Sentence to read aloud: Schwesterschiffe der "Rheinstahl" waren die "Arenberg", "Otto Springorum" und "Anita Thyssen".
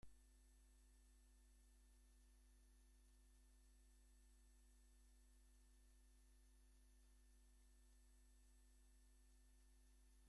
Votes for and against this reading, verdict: 0, 2, rejected